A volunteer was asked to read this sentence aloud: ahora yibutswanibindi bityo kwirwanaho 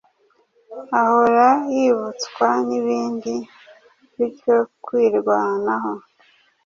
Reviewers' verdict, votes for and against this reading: accepted, 2, 0